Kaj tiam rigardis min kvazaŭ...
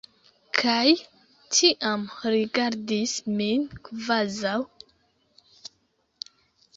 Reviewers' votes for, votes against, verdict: 2, 0, accepted